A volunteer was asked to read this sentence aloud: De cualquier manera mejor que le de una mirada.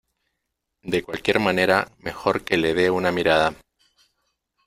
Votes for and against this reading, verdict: 2, 0, accepted